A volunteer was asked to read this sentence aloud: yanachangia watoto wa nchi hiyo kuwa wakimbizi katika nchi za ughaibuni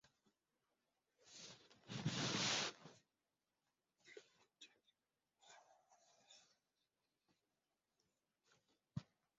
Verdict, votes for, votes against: rejected, 0, 2